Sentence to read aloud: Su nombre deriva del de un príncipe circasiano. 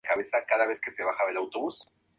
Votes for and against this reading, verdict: 0, 2, rejected